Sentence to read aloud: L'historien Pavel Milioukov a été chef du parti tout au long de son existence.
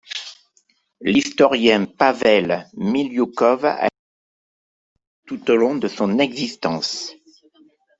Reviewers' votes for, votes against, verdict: 0, 2, rejected